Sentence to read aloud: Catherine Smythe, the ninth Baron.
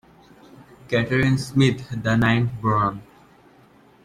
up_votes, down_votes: 2, 1